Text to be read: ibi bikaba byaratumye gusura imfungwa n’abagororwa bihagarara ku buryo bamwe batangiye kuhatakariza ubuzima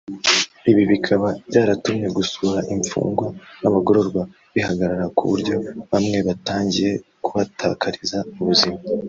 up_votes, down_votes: 1, 2